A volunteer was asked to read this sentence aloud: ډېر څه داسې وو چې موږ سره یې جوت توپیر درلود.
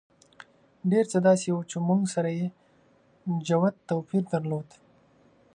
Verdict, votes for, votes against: accepted, 2, 0